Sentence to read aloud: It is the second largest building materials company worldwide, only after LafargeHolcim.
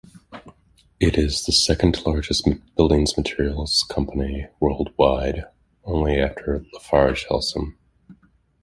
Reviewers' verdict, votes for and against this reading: rejected, 1, 2